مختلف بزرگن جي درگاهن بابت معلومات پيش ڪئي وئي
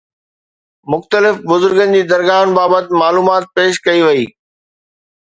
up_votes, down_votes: 2, 0